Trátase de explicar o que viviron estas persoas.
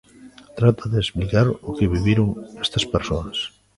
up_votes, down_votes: 0, 2